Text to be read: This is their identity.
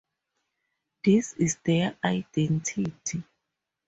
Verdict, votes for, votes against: accepted, 2, 0